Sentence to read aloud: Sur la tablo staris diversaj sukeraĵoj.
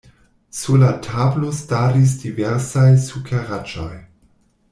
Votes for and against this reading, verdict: 0, 2, rejected